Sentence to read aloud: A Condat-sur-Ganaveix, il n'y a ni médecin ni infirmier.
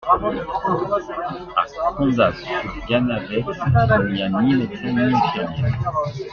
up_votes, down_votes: 0, 2